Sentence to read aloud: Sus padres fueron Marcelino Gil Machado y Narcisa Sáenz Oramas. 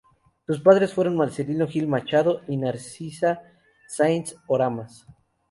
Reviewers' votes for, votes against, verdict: 2, 0, accepted